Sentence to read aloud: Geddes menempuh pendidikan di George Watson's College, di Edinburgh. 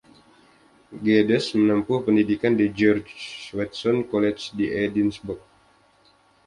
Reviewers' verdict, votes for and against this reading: accepted, 2, 0